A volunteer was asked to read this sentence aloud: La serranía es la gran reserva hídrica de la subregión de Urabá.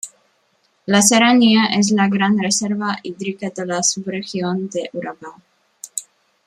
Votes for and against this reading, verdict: 2, 0, accepted